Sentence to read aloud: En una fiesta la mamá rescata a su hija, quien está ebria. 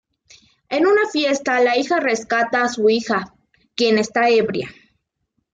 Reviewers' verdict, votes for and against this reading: rejected, 0, 2